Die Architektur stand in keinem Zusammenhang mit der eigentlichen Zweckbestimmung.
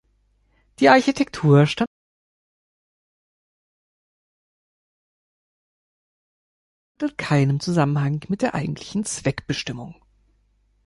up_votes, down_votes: 0, 2